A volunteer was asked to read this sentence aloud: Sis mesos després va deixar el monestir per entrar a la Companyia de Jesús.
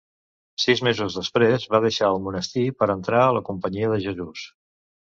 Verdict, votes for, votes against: accepted, 2, 0